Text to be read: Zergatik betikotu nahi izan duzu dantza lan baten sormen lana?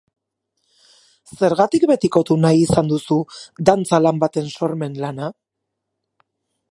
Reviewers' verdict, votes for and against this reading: accepted, 6, 0